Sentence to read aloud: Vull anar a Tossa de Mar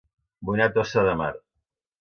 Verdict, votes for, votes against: rejected, 1, 2